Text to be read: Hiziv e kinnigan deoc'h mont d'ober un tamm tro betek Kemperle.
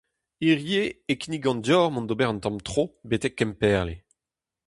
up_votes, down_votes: 0, 2